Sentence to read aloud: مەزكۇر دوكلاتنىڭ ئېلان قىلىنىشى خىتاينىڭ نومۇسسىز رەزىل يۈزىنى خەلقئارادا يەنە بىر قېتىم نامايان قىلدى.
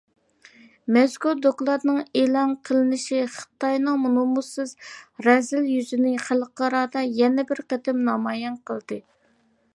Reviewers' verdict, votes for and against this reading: accepted, 2, 0